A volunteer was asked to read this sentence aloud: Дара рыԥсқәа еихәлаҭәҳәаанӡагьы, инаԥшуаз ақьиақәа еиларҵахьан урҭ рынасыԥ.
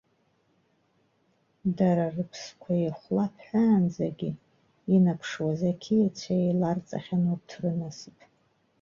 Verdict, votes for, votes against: rejected, 1, 2